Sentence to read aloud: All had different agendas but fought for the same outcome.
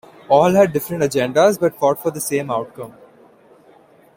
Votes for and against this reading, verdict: 2, 0, accepted